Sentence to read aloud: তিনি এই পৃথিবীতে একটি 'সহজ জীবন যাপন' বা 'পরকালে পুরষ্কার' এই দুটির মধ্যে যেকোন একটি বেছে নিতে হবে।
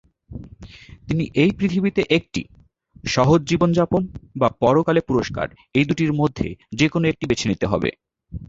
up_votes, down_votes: 2, 0